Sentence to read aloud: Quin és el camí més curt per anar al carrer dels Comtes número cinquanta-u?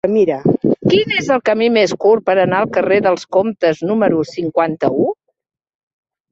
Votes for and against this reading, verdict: 0, 2, rejected